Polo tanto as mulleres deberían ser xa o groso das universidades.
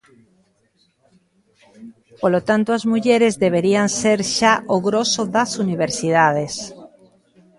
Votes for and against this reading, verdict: 0, 2, rejected